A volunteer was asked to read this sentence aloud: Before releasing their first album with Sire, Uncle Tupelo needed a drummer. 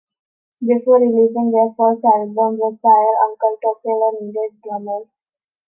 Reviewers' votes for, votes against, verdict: 0, 2, rejected